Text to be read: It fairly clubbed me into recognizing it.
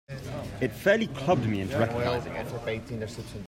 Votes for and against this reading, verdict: 1, 2, rejected